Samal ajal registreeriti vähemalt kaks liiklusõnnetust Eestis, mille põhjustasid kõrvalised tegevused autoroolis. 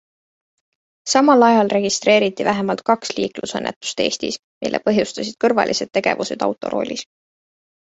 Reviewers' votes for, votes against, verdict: 2, 0, accepted